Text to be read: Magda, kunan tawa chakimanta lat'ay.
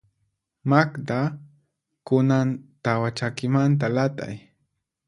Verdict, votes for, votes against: accepted, 4, 0